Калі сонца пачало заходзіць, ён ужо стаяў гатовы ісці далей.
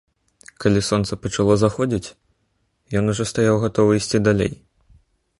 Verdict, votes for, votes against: accepted, 2, 0